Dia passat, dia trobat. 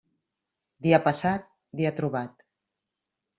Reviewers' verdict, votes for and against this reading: rejected, 1, 2